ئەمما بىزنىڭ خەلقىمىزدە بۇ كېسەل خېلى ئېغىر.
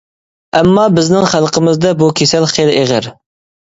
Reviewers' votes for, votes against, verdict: 2, 0, accepted